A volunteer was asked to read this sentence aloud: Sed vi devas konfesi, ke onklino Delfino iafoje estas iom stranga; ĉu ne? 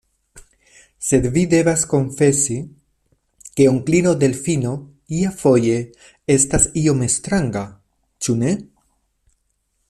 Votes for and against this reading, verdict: 2, 1, accepted